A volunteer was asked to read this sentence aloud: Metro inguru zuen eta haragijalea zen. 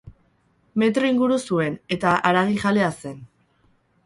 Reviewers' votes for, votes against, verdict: 4, 0, accepted